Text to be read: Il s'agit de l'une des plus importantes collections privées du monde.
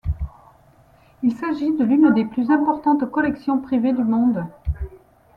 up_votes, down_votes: 2, 0